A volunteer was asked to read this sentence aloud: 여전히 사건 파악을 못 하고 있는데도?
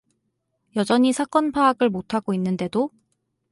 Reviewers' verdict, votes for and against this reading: accepted, 4, 0